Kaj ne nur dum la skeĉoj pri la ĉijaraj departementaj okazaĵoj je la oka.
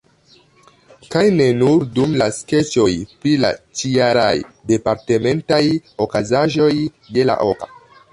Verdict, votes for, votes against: rejected, 1, 2